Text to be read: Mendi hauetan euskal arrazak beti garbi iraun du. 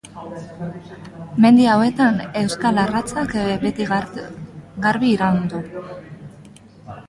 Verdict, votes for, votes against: rejected, 0, 2